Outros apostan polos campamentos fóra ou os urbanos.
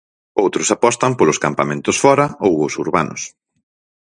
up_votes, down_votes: 4, 0